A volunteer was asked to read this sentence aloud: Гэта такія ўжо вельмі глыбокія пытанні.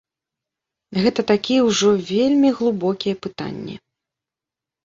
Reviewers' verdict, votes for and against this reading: rejected, 1, 2